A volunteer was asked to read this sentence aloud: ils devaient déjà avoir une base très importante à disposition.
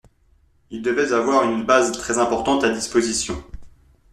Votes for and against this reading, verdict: 0, 2, rejected